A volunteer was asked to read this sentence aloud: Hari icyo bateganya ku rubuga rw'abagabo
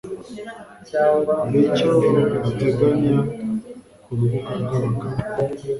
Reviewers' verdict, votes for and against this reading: rejected, 0, 2